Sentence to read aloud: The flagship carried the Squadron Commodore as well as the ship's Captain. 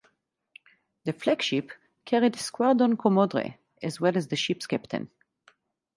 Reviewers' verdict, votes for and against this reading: rejected, 2, 2